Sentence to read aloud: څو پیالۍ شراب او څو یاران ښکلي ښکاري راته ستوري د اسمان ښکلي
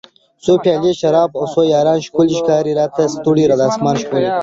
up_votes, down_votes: 3, 1